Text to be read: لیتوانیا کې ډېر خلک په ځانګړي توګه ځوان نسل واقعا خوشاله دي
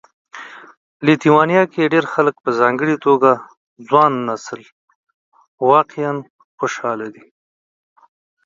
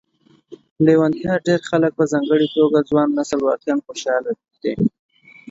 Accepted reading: first